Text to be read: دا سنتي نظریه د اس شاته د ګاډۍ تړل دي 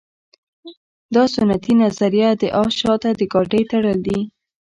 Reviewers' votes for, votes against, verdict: 2, 0, accepted